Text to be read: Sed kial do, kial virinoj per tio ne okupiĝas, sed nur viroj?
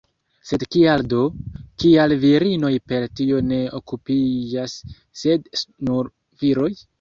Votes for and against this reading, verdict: 1, 2, rejected